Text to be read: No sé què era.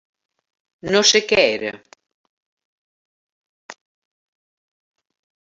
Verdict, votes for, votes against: accepted, 3, 0